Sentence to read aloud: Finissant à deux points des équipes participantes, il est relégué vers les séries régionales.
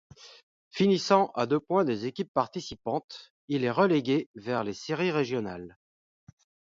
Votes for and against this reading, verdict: 1, 2, rejected